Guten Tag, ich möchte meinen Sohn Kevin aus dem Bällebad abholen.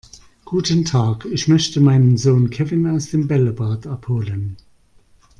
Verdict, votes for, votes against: rejected, 0, 2